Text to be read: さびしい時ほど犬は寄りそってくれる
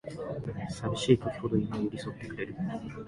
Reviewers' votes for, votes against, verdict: 2, 3, rejected